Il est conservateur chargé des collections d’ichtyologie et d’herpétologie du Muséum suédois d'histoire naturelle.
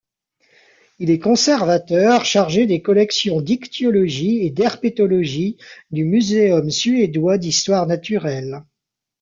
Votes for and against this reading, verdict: 2, 0, accepted